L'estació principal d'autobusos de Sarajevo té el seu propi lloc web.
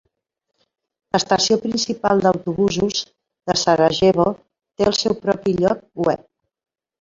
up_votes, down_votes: 1, 2